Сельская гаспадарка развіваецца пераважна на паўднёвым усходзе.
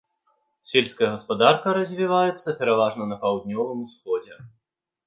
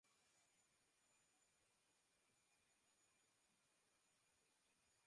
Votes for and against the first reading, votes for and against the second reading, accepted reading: 2, 0, 0, 2, first